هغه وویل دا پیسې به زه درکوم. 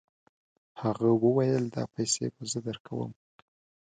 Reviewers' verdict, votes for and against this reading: accepted, 2, 0